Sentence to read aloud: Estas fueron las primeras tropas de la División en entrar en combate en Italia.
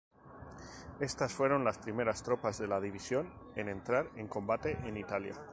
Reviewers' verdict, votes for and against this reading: accepted, 2, 0